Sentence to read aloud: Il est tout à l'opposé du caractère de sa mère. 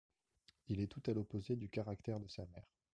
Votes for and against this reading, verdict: 1, 2, rejected